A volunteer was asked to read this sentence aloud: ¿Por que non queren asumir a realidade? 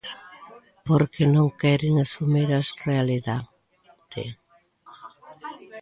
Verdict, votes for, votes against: rejected, 0, 2